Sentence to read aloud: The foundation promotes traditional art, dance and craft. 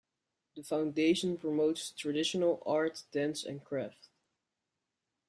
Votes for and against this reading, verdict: 2, 0, accepted